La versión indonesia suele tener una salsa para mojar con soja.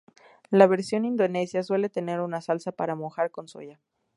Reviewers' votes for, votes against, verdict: 0, 2, rejected